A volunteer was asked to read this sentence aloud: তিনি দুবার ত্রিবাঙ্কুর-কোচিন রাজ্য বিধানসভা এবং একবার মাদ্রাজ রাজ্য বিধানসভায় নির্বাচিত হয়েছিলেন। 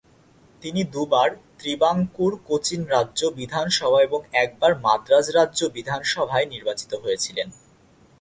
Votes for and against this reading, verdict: 2, 0, accepted